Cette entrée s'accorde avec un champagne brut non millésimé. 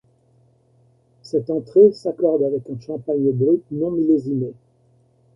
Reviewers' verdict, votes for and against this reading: rejected, 1, 2